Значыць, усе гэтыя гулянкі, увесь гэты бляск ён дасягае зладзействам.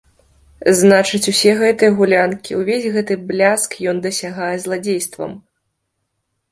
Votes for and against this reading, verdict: 4, 0, accepted